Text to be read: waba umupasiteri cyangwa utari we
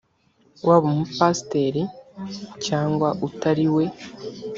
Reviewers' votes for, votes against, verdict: 2, 0, accepted